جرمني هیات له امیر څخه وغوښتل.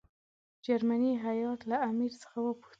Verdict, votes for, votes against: accepted, 2, 0